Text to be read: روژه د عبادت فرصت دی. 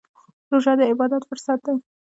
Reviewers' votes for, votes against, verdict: 0, 2, rejected